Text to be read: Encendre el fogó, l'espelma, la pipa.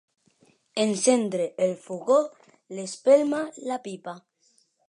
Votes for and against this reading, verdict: 3, 0, accepted